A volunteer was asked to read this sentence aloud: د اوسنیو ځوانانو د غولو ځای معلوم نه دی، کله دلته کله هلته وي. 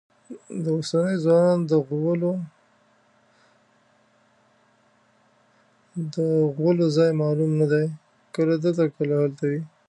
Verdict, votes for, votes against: rejected, 1, 2